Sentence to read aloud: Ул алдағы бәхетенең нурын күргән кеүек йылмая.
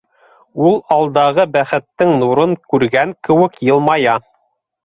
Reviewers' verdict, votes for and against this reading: rejected, 1, 2